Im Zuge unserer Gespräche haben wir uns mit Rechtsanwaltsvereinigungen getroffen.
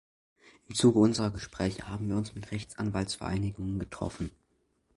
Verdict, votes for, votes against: accepted, 2, 0